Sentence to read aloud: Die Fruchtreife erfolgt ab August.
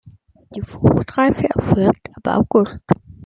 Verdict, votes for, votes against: accepted, 2, 0